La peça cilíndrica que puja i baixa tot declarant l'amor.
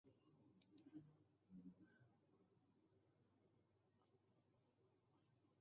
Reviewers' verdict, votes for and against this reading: rejected, 0, 3